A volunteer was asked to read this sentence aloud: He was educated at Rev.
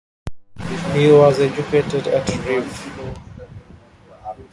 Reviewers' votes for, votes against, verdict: 0, 2, rejected